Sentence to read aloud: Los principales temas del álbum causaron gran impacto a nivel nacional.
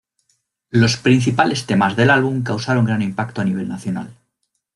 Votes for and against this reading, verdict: 2, 0, accepted